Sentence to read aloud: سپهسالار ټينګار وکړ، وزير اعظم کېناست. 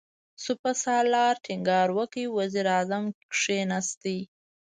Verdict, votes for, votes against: rejected, 1, 2